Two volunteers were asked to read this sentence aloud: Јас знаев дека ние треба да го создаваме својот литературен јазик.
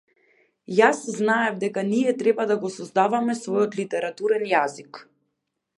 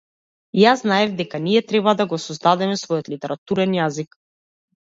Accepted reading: first